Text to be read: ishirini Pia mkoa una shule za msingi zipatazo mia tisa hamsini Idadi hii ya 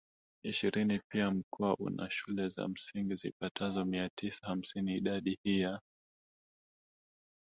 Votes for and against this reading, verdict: 0, 2, rejected